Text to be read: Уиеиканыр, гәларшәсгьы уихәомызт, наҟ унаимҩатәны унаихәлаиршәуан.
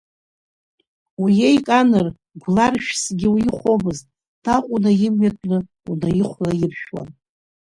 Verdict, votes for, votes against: rejected, 0, 2